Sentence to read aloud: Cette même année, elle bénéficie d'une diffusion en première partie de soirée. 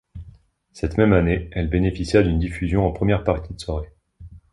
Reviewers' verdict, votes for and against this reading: rejected, 0, 2